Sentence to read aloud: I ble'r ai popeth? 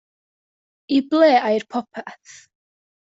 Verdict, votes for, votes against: rejected, 1, 2